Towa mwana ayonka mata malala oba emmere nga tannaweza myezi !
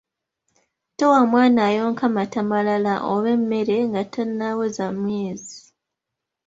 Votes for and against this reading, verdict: 2, 0, accepted